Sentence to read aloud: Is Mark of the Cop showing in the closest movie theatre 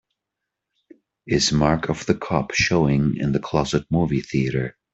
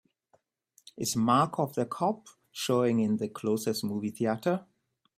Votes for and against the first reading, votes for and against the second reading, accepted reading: 0, 3, 2, 0, second